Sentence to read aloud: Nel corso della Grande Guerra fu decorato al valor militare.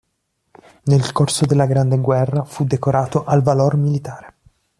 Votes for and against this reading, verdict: 2, 0, accepted